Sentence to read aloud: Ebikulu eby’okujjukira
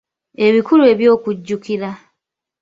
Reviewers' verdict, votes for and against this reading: accepted, 2, 1